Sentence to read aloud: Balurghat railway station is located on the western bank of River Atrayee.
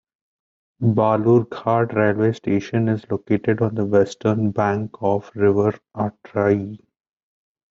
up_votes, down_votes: 2, 1